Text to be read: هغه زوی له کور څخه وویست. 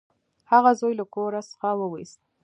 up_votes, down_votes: 2, 0